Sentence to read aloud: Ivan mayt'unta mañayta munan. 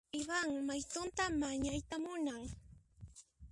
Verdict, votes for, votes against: rejected, 0, 2